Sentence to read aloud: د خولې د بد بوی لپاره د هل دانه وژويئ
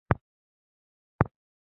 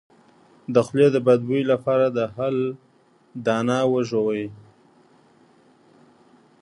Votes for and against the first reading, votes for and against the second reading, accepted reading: 1, 2, 2, 0, second